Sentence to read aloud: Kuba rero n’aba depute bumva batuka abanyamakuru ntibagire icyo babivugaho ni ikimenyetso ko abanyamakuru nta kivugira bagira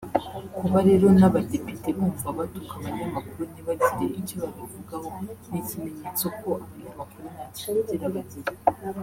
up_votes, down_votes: 0, 2